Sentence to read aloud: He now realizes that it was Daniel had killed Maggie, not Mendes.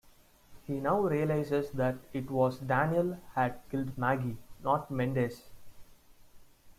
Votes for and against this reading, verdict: 0, 2, rejected